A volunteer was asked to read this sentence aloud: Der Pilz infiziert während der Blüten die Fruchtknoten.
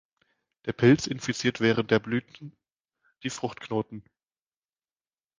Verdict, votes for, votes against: rejected, 1, 2